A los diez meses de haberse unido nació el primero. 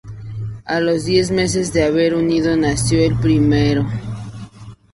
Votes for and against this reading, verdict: 2, 2, rejected